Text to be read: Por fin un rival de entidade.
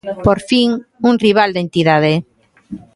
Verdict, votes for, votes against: rejected, 0, 2